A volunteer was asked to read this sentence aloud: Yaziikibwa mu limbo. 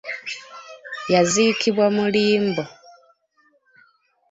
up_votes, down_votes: 3, 0